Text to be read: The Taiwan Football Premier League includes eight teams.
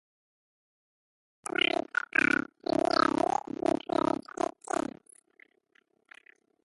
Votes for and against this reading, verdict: 0, 2, rejected